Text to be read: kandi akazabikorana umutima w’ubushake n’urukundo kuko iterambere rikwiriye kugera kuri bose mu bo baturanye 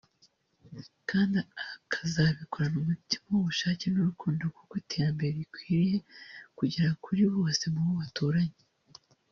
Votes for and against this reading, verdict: 2, 0, accepted